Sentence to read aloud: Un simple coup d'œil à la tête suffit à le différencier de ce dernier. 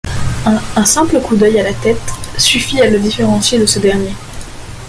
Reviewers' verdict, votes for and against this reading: accepted, 2, 1